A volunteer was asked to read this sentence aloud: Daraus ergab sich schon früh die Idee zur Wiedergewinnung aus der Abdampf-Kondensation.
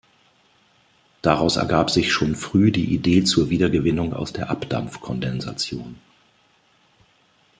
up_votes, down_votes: 2, 0